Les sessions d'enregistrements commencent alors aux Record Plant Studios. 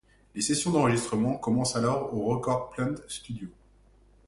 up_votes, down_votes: 2, 0